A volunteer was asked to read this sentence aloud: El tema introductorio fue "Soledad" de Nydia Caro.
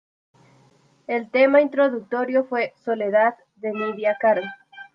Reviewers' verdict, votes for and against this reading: accepted, 2, 0